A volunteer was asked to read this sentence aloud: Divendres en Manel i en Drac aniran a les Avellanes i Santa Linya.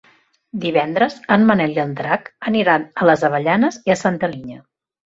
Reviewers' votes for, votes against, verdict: 0, 2, rejected